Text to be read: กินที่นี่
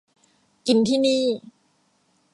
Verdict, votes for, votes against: accepted, 2, 0